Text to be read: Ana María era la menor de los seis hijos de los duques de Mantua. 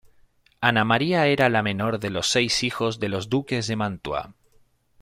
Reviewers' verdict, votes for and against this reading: accepted, 2, 0